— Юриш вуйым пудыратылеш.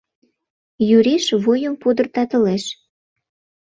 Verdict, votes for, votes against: rejected, 0, 2